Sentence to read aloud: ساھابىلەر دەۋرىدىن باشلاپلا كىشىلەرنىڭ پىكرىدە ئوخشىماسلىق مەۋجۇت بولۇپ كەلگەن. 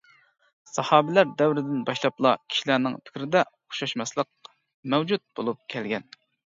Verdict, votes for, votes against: rejected, 0, 2